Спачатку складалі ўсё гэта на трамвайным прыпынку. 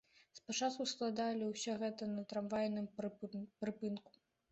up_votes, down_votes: 0, 2